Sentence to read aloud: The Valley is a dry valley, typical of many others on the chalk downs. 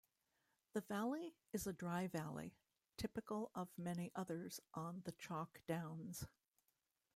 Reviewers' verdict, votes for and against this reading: rejected, 0, 2